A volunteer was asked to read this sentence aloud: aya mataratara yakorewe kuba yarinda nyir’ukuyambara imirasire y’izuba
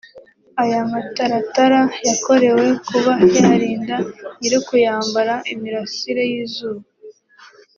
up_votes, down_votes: 3, 0